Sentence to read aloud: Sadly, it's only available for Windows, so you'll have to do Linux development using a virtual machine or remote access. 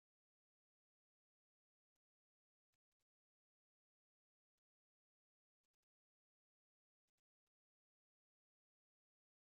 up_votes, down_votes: 0, 2